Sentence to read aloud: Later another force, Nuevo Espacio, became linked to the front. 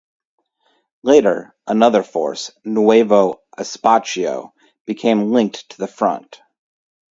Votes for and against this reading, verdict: 2, 0, accepted